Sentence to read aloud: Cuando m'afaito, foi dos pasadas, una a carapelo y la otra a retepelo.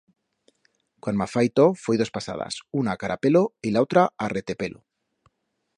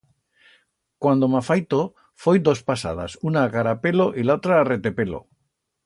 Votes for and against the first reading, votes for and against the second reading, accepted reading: 1, 2, 2, 0, second